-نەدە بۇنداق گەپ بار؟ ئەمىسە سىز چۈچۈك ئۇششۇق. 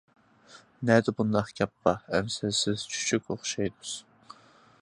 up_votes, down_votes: 0, 2